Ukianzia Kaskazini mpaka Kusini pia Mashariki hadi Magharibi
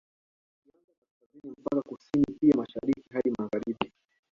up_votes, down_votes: 0, 2